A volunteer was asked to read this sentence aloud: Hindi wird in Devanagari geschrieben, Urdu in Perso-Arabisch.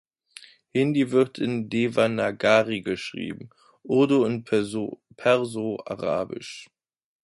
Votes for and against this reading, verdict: 0, 2, rejected